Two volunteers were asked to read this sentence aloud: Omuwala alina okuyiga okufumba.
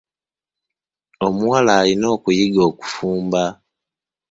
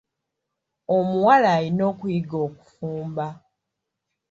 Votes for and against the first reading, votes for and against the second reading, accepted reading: 1, 2, 2, 1, second